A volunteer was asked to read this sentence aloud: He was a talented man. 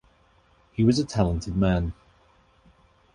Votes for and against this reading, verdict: 2, 0, accepted